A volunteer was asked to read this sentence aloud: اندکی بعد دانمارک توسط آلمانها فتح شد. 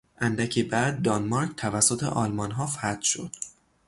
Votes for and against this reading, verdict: 3, 0, accepted